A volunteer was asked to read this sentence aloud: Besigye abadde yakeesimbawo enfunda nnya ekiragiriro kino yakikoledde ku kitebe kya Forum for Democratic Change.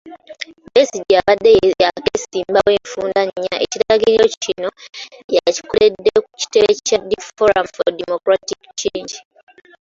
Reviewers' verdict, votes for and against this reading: rejected, 0, 2